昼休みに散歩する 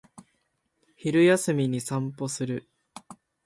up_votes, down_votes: 3, 0